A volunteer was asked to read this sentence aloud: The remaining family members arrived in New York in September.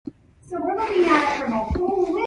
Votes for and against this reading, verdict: 0, 2, rejected